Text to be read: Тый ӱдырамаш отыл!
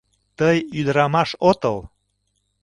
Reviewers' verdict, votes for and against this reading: accepted, 2, 0